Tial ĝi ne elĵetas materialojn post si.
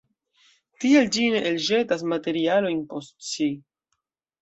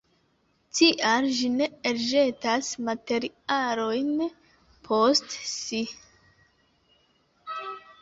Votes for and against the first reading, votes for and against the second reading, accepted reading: 2, 0, 1, 2, first